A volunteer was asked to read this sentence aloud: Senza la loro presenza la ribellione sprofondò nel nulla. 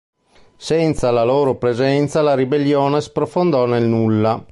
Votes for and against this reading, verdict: 2, 0, accepted